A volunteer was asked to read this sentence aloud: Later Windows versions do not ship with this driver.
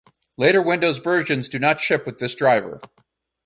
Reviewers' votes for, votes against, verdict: 4, 0, accepted